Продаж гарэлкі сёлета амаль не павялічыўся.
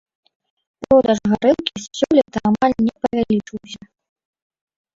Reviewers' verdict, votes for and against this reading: rejected, 0, 2